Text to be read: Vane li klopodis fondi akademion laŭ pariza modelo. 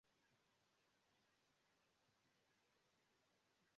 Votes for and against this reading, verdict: 0, 2, rejected